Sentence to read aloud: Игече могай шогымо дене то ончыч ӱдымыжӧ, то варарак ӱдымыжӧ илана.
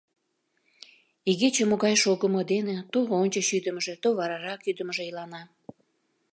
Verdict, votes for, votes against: accepted, 2, 0